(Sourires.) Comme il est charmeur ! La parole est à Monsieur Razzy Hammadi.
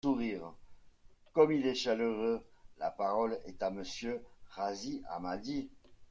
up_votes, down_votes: 0, 2